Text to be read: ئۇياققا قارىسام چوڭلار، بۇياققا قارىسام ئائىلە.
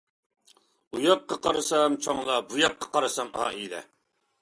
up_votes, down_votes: 2, 0